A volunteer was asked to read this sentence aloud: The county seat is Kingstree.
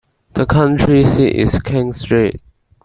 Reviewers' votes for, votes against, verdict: 1, 2, rejected